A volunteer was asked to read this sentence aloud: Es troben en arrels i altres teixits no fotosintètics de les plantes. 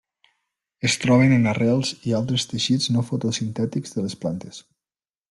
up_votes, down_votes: 3, 0